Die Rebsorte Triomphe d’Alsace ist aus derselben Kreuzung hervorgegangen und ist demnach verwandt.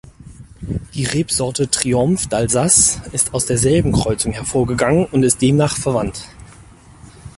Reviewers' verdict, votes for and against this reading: rejected, 0, 4